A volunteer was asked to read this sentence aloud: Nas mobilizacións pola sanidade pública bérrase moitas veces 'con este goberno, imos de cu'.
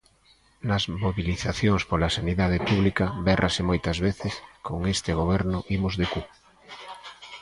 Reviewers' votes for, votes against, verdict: 1, 2, rejected